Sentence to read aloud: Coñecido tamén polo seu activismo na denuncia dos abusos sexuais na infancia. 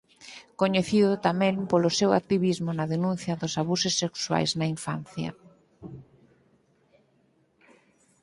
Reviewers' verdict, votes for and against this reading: accepted, 26, 0